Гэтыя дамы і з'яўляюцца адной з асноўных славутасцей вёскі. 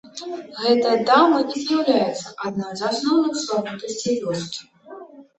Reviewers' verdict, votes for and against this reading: rejected, 0, 2